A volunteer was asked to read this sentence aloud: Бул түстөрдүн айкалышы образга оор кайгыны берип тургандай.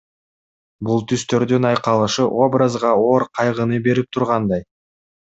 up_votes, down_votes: 2, 0